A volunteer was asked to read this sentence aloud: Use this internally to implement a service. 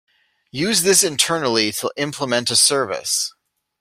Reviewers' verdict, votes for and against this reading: accepted, 2, 1